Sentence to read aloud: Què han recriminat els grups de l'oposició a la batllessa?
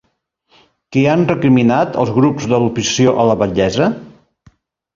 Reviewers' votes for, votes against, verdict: 2, 3, rejected